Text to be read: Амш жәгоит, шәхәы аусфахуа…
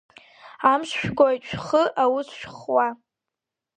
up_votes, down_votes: 0, 2